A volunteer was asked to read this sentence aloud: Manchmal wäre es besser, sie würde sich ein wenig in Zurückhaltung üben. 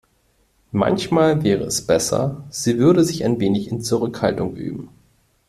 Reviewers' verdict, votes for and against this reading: accepted, 3, 0